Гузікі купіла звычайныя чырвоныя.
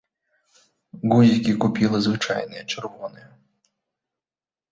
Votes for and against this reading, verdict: 2, 1, accepted